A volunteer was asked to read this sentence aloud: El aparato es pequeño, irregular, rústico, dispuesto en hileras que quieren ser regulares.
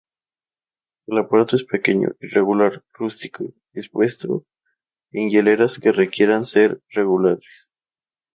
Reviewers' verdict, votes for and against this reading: rejected, 0, 2